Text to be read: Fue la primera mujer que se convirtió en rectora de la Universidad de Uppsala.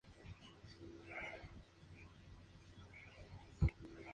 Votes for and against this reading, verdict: 0, 2, rejected